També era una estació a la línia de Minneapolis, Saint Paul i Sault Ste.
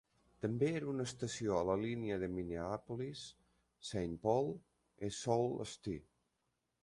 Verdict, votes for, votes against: rejected, 1, 2